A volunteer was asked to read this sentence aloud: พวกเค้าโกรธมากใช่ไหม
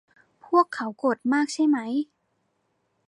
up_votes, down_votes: 2, 0